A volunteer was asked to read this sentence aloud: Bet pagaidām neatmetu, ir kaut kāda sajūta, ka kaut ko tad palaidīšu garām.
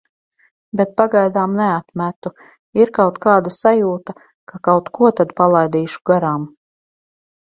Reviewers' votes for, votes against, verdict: 4, 0, accepted